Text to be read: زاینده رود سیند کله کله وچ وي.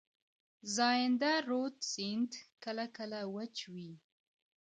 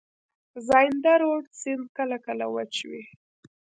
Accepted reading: first